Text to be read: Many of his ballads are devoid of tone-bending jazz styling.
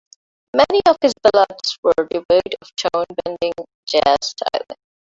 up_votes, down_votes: 0, 2